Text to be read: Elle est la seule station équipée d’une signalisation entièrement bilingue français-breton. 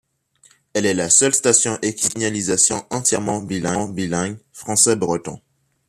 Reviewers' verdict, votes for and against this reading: rejected, 1, 3